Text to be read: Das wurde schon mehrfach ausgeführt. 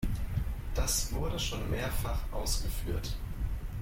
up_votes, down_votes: 0, 2